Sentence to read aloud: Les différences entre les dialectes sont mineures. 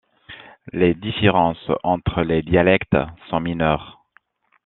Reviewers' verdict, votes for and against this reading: accepted, 2, 1